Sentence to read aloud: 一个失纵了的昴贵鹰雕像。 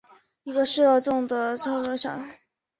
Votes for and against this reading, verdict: 1, 5, rejected